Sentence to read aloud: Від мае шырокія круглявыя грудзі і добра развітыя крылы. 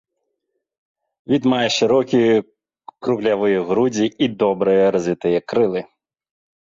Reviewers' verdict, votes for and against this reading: rejected, 0, 2